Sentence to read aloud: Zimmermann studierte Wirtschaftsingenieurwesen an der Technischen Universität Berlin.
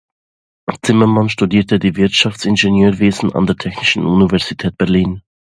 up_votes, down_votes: 0, 2